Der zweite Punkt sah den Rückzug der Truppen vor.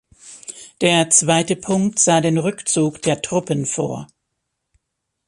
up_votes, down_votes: 2, 0